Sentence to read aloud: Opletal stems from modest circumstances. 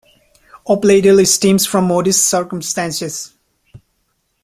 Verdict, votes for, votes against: rejected, 1, 2